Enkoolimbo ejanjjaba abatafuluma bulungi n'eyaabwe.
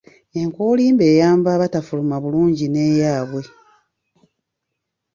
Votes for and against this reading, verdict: 1, 3, rejected